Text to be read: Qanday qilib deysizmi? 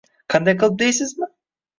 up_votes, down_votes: 2, 0